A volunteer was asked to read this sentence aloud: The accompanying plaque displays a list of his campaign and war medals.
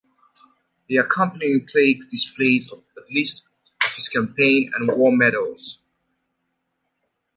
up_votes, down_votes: 2, 0